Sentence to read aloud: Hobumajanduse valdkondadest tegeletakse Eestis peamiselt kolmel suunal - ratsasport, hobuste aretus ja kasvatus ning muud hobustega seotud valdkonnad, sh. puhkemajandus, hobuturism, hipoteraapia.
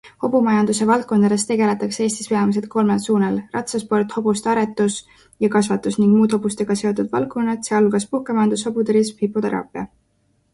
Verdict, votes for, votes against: accepted, 2, 0